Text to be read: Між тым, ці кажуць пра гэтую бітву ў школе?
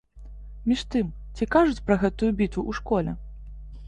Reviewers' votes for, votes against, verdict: 2, 0, accepted